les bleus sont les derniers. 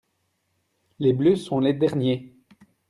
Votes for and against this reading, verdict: 2, 0, accepted